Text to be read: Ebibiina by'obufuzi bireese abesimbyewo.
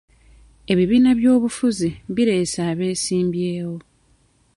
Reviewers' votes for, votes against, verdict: 2, 0, accepted